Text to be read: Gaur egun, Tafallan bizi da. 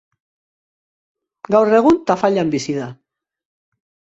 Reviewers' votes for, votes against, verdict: 5, 0, accepted